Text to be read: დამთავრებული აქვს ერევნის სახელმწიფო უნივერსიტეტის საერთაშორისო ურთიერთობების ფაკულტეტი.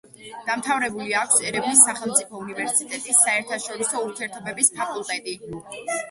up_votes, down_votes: 2, 0